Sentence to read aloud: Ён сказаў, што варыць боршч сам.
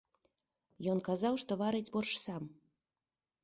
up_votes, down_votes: 1, 2